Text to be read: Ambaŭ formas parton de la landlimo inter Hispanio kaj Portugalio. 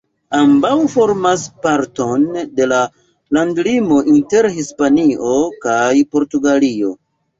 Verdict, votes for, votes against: rejected, 1, 2